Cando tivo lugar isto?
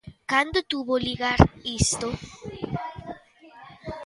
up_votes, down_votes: 0, 2